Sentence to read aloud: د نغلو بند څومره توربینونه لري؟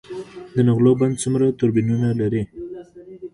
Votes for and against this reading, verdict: 2, 1, accepted